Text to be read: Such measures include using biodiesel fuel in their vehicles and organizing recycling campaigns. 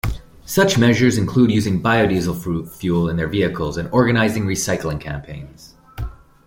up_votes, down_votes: 0, 2